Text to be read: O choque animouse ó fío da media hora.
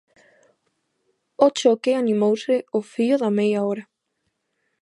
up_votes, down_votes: 1, 2